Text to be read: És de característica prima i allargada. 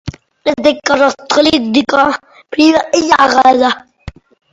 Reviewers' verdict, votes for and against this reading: rejected, 0, 2